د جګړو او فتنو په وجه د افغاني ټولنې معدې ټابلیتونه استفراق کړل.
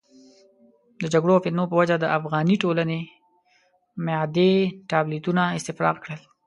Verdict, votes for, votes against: accepted, 2, 0